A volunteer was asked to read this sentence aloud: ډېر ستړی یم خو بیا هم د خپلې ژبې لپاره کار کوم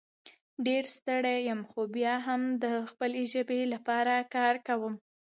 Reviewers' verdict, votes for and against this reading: accepted, 2, 0